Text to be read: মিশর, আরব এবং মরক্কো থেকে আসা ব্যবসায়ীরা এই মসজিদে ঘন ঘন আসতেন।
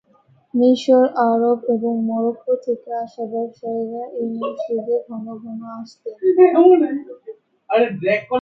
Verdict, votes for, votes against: rejected, 0, 2